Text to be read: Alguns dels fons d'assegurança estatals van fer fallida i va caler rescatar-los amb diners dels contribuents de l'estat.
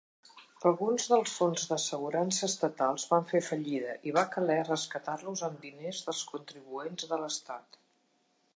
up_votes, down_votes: 2, 0